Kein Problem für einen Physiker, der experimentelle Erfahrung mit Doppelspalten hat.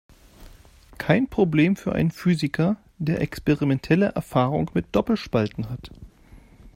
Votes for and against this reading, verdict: 2, 0, accepted